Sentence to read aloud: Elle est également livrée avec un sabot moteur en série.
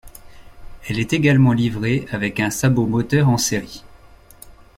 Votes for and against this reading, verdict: 2, 0, accepted